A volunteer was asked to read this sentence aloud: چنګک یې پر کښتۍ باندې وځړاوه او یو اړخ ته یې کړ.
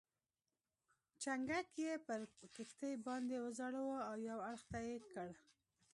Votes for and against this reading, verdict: 2, 0, accepted